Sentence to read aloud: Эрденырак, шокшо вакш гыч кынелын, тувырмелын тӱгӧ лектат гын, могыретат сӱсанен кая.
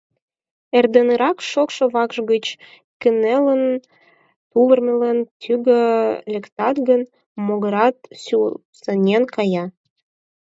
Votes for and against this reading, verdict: 4, 2, accepted